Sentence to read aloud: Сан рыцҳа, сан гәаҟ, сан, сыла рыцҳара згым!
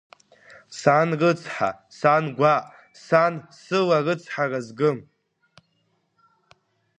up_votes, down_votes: 2, 0